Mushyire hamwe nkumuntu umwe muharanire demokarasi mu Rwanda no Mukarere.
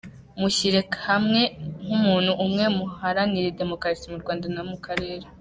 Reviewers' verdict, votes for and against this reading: rejected, 0, 2